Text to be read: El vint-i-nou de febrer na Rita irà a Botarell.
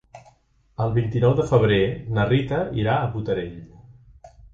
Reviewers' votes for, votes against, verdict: 2, 0, accepted